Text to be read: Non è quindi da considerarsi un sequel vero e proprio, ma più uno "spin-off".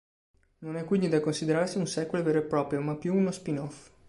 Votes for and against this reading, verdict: 2, 0, accepted